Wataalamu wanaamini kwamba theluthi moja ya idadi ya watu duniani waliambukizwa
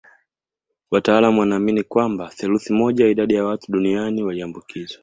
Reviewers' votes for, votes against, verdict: 2, 0, accepted